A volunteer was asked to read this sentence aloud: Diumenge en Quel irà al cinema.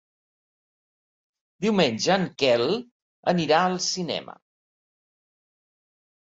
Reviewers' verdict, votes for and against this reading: rejected, 0, 2